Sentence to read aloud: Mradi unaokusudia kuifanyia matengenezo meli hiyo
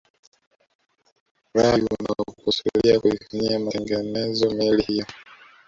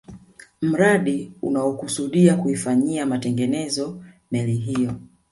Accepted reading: second